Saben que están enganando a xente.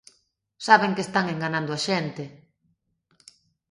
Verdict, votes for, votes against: accepted, 2, 0